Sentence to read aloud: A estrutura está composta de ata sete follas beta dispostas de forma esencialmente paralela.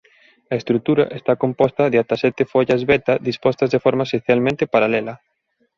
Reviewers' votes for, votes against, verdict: 2, 0, accepted